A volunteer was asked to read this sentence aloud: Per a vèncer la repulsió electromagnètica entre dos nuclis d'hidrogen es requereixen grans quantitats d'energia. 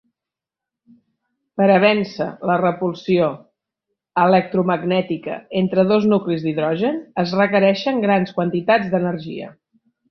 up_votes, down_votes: 3, 0